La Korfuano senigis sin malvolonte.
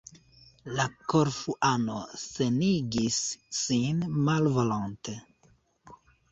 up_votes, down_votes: 2, 0